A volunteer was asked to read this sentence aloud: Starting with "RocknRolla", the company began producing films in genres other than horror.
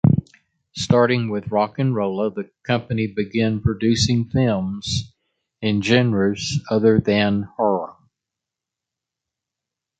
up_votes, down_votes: 1, 2